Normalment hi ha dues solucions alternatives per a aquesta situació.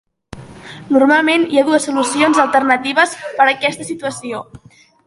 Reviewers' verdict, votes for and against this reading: accepted, 2, 0